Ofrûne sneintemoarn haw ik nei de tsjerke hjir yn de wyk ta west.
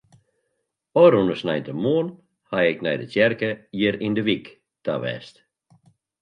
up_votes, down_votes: 2, 1